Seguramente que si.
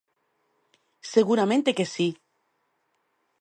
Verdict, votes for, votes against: accepted, 2, 1